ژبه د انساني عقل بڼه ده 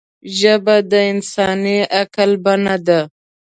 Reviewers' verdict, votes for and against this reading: accepted, 2, 1